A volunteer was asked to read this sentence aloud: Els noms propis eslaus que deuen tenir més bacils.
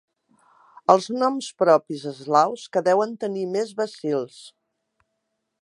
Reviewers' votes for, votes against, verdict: 3, 0, accepted